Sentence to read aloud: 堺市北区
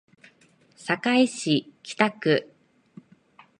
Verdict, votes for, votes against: accepted, 2, 0